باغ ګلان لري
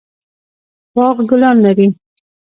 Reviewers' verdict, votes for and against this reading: accepted, 2, 0